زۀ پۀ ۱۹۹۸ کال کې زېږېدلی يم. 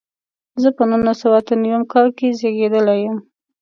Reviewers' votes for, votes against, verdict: 0, 2, rejected